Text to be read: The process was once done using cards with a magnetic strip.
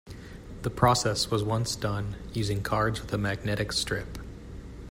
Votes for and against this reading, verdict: 2, 0, accepted